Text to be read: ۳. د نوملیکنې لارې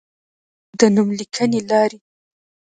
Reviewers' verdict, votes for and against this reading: rejected, 0, 2